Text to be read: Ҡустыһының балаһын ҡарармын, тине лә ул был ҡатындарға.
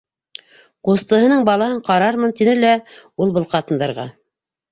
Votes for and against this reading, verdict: 1, 2, rejected